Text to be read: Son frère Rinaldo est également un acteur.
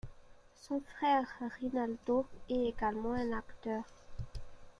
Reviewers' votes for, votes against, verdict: 1, 2, rejected